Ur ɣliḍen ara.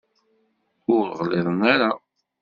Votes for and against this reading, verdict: 2, 0, accepted